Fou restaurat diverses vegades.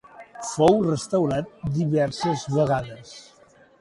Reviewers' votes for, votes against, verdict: 2, 0, accepted